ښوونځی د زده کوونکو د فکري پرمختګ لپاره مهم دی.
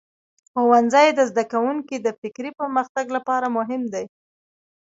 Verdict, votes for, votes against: rejected, 1, 2